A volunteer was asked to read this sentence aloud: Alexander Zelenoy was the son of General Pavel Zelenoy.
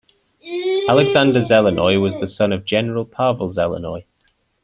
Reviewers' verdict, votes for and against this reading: accepted, 2, 0